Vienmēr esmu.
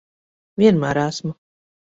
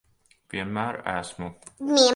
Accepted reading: first